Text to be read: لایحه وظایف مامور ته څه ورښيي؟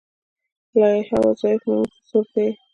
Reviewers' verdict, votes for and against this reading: rejected, 0, 2